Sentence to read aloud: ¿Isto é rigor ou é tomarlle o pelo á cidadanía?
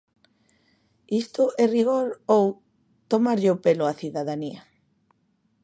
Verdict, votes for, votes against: rejected, 0, 2